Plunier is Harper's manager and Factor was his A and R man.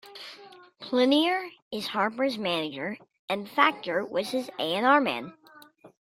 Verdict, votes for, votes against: accepted, 2, 0